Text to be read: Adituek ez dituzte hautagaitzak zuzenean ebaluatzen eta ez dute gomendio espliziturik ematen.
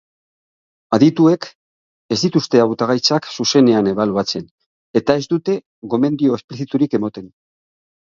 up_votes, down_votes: 15, 3